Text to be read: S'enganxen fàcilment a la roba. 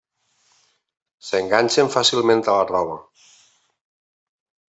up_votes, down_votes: 3, 0